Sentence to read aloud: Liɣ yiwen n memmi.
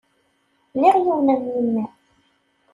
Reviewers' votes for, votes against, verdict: 3, 0, accepted